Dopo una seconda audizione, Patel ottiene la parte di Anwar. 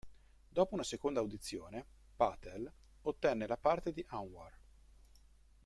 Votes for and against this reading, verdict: 1, 3, rejected